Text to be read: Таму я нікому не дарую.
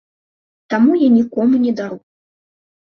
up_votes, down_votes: 1, 2